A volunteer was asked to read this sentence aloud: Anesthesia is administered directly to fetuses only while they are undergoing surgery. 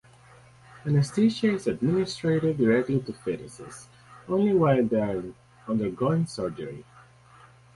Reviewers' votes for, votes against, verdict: 2, 2, rejected